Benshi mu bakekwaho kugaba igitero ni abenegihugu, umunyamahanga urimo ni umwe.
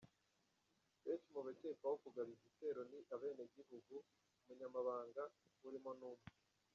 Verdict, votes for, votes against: rejected, 0, 2